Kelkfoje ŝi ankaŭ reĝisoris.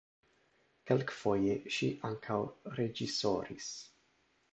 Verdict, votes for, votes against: accepted, 2, 0